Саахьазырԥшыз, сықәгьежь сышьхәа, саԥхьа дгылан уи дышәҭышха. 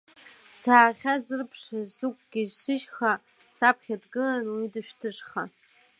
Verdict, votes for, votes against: accepted, 2, 0